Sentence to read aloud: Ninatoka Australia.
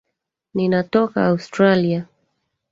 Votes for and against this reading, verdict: 1, 2, rejected